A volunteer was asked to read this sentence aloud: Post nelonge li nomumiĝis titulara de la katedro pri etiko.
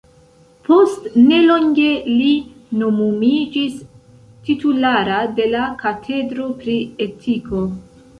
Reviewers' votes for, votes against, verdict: 1, 2, rejected